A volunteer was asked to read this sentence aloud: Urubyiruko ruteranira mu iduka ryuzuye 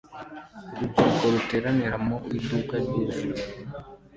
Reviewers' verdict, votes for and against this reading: accepted, 2, 1